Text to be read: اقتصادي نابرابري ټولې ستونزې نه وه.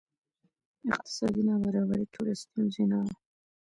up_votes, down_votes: 2, 1